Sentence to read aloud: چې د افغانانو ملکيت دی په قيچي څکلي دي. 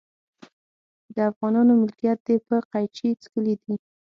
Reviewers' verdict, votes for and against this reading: rejected, 3, 6